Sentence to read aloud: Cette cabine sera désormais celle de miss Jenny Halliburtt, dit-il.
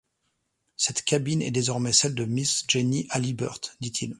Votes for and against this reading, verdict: 0, 2, rejected